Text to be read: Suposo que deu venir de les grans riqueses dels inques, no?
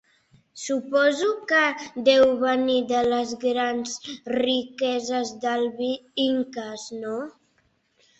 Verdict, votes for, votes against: rejected, 1, 2